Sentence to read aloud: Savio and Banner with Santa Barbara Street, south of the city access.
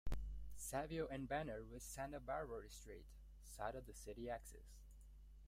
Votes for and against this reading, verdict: 1, 2, rejected